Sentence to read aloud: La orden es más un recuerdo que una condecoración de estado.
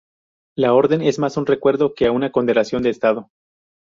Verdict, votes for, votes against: rejected, 0, 2